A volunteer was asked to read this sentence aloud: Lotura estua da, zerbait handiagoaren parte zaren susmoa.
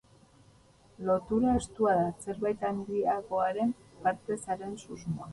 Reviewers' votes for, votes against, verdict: 0, 2, rejected